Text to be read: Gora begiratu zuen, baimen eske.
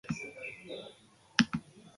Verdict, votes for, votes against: rejected, 0, 2